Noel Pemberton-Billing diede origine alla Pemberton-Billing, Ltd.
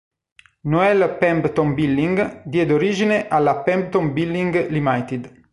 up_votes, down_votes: 1, 2